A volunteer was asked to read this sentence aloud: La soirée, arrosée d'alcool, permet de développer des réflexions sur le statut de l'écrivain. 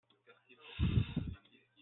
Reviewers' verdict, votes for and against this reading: rejected, 0, 2